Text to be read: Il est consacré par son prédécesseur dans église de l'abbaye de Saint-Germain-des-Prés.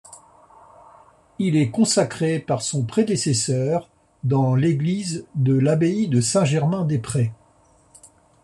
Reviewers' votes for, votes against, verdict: 0, 2, rejected